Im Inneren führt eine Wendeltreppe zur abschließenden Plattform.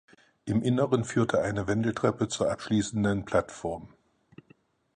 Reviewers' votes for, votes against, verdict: 0, 4, rejected